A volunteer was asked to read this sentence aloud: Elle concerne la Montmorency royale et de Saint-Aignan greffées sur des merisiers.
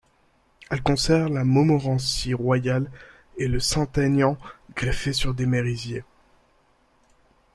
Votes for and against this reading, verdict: 2, 0, accepted